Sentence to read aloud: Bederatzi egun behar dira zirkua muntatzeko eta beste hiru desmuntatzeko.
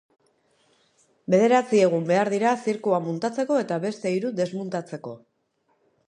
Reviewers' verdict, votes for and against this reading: accepted, 2, 0